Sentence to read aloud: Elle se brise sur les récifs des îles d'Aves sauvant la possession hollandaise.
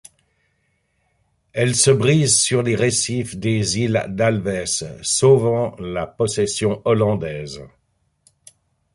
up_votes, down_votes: 1, 2